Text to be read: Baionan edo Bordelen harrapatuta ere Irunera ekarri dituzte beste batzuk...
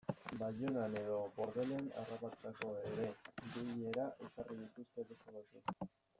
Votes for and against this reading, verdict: 1, 2, rejected